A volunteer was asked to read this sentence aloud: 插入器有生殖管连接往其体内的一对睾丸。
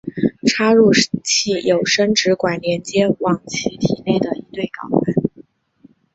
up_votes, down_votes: 4, 0